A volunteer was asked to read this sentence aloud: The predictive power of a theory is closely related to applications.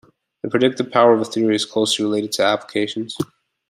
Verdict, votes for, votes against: accepted, 2, 0